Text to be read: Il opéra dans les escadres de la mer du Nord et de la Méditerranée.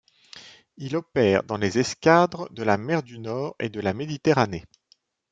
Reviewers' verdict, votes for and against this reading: rejected, 1, 2